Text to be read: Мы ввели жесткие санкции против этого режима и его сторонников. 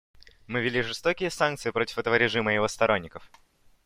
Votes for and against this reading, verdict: 1, 2, rejected